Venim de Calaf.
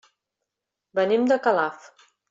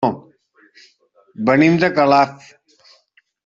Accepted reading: first